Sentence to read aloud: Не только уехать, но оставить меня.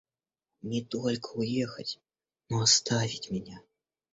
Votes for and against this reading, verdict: 2, 0, accepted